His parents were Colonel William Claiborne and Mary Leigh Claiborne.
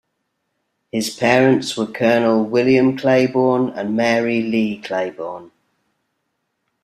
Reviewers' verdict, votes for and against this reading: accepted, 2, 0